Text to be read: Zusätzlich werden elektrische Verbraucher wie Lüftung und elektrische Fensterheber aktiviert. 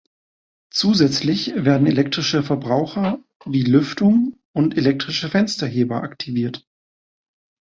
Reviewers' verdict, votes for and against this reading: accepted, 2, 0